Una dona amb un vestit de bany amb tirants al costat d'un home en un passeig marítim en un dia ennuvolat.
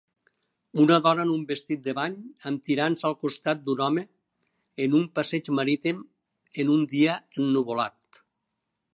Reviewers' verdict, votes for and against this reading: accepted, 2, 0